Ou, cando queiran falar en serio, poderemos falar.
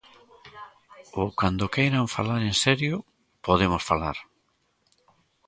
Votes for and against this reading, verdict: 0, 2, rejected